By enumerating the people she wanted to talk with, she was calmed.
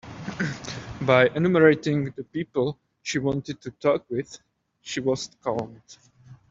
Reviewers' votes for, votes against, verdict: 0, 2, rejected